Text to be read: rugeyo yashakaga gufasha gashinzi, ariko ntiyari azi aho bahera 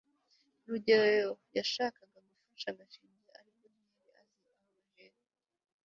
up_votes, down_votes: 0, 2